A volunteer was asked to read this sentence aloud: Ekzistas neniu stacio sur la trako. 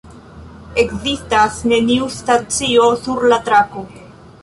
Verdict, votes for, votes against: accepted, 2, 1